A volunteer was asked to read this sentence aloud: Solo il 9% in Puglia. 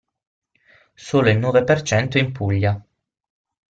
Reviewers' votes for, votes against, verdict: 0, 2, rejected